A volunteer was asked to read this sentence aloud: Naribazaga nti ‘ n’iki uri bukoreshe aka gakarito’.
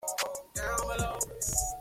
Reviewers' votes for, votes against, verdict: 0, 2, rejected